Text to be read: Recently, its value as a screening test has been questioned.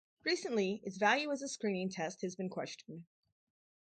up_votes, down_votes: 0, 2